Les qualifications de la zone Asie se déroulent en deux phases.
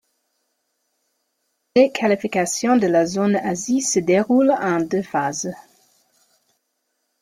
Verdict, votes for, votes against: accepted, 2, 1